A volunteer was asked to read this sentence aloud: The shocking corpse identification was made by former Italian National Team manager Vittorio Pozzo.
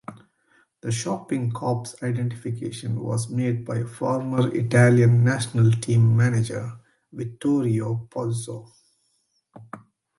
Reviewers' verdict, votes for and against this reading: accepted, 2, 0